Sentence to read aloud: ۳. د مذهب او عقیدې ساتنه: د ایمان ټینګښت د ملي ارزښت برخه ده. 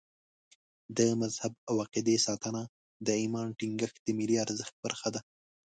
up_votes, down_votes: 0, 2